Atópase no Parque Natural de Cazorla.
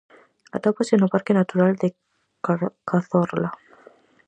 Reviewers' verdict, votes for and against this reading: rejected, 0, 4